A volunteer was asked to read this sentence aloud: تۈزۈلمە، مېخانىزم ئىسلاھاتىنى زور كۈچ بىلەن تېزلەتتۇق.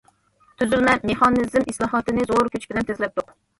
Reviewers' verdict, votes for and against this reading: rejected, 1, 2